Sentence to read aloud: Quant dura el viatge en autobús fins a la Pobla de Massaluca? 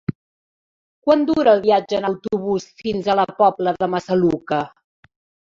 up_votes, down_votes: 2, 0